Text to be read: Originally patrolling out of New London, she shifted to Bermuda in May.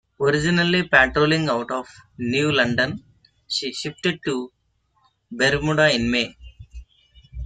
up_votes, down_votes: 2, 1